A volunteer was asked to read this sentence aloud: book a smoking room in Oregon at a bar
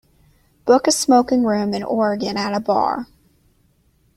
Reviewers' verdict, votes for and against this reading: accepted, 2, 0